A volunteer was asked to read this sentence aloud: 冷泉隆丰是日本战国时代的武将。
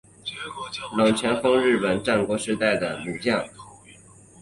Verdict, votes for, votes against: accepted, 2, 1